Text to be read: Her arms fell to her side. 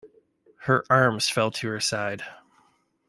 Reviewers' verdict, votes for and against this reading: accepted, 2, 0